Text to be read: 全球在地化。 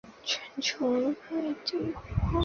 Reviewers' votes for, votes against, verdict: 1, 3, rejected